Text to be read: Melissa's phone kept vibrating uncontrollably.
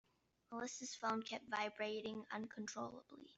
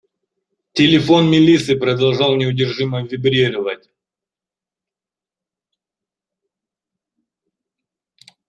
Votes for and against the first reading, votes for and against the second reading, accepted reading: 2, 0, 0, 2, first